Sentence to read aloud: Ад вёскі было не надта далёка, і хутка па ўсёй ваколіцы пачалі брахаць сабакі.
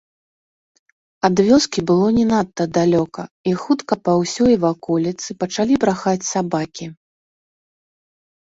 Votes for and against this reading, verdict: 1, 2, rejected